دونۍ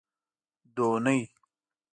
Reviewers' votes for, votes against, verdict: 2, 0, accepted